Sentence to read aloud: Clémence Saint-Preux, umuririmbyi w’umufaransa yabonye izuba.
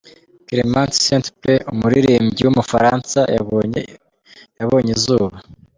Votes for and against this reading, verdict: 0, 2, rejected